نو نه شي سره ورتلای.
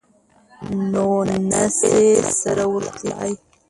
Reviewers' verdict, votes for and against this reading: rejected, 1, 2